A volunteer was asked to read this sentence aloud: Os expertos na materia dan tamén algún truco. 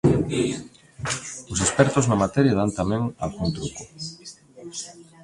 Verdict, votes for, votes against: accepted, 2, 0